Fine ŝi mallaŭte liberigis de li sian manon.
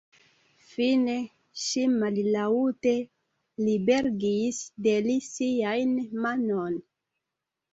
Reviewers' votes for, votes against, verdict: 0, 2, rejected